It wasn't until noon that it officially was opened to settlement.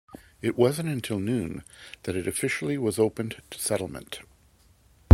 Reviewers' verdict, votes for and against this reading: accepted, 2, 0